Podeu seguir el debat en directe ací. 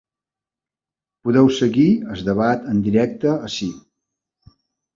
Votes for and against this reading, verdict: 0, 2, rejected